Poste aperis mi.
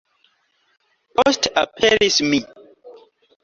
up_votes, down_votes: 2, 1